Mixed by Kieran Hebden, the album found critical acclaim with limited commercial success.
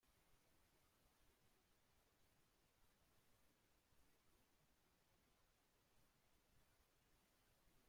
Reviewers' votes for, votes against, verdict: 0, 2, rejected